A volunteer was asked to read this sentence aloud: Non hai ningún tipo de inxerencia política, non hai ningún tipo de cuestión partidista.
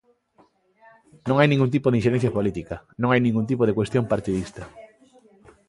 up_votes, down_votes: 2, 0